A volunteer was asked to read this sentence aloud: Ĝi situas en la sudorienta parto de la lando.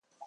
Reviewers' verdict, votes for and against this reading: rejected, 0, 2